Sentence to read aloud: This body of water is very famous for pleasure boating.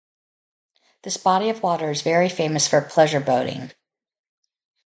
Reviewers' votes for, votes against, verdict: 2, 2, rejected